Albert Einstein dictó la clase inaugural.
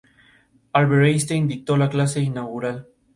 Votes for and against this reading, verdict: 0, 2, rejected